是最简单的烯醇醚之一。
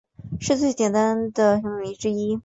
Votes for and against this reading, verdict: 2, 0, accepted